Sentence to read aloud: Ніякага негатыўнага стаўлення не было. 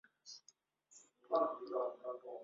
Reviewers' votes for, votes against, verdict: 0, 2, rejected